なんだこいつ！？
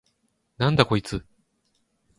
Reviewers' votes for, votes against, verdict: 6, 0, accepted